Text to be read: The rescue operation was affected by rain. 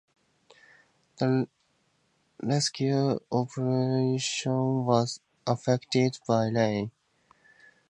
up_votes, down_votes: 2, 0